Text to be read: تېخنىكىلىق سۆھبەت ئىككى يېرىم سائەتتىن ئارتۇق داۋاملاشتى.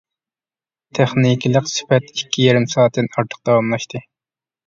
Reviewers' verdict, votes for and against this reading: rejected, 0, 2